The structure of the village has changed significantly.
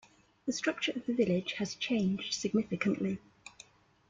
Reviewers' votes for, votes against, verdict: 2, 0, accepted